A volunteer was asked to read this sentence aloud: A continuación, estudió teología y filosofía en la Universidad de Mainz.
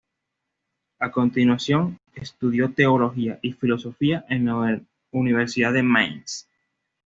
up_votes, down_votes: 2, 0